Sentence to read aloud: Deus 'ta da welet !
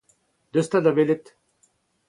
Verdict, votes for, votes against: accepted, 4, 0